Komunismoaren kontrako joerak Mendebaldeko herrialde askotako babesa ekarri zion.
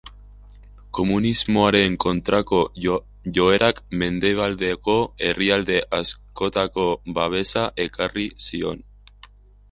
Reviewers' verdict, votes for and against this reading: rejected, 0, 2